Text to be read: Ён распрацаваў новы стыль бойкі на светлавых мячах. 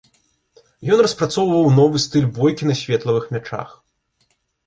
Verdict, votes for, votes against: rejected, 0, 2